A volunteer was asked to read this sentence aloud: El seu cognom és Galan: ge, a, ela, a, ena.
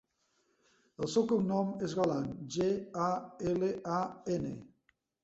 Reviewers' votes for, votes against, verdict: 1, 2, rejected